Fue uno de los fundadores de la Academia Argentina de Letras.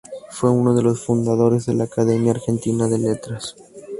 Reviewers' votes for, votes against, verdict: 2, 0, accepted